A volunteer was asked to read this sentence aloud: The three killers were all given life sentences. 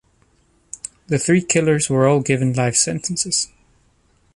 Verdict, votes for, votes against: accepted, 3, 0